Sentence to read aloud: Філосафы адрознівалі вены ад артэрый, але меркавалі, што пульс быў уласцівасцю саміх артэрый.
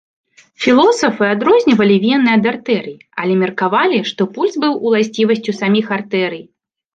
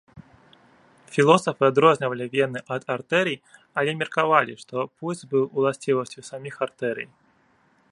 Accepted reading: first